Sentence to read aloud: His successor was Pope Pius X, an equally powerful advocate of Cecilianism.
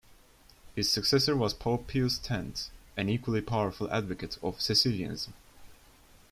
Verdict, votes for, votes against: rejected, 0, 2